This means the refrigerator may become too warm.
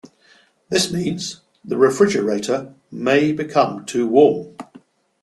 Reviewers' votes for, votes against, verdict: 2, 0, accepted